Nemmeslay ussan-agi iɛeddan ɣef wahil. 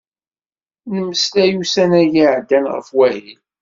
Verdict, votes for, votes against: accepted, 2, 0